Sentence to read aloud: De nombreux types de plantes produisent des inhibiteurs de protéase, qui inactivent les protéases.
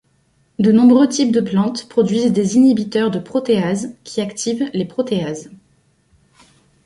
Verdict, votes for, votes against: rejected, 1, 2